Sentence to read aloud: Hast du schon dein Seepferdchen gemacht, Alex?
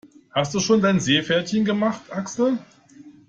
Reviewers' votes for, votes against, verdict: 1, 2, rejected